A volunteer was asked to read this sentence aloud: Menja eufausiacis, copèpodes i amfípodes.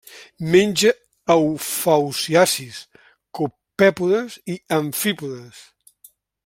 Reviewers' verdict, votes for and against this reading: rejected, 1, 2